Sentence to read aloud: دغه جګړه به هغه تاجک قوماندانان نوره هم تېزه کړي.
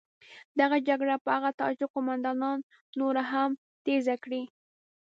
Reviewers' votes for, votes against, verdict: 2, 0, accepted